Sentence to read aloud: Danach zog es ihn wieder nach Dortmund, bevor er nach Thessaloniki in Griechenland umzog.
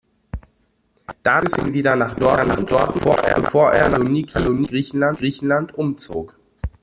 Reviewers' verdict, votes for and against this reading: rejected, 0, 2